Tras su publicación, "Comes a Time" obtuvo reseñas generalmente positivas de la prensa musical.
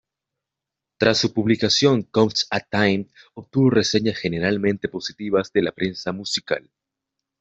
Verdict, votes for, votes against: accepted, 2, 0